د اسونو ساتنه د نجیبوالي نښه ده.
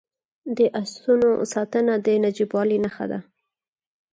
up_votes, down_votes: 4, 0